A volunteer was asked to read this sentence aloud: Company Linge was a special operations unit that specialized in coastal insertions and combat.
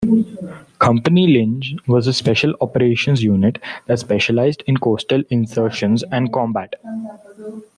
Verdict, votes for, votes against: accepted, 2, 0